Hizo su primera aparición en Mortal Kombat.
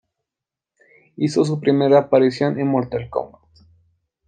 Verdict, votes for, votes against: accepted, 2, 0